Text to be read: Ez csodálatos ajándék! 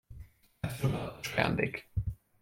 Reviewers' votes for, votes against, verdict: 0, 2, rejected